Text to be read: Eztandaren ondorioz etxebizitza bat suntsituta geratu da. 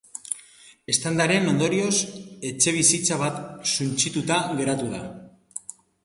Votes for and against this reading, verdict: 3, 0, accepted